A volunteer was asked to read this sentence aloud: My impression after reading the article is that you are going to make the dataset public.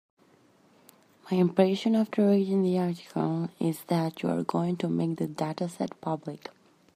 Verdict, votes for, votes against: accepted, 2, 0